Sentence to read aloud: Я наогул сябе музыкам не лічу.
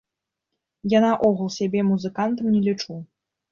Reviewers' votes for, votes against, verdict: 1, 2, rejected